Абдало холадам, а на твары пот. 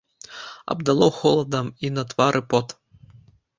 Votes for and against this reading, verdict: 0, 2, rejected